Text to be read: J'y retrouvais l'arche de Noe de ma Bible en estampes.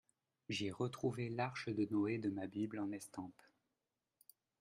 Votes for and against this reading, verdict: 2, 1, accepted